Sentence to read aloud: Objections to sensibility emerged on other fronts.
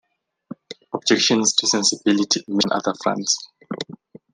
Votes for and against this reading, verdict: 1, 2, rejected